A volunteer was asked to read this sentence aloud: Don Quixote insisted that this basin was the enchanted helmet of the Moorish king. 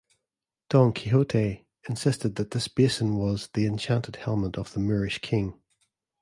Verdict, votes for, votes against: accepted, 2, 0